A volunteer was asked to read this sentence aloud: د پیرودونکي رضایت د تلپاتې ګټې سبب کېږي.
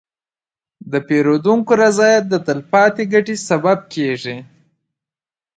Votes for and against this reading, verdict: 2, 1, accepted